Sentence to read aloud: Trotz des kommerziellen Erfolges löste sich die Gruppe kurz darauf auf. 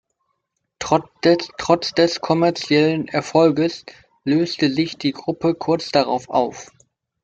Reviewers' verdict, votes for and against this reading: rejected, 0, 2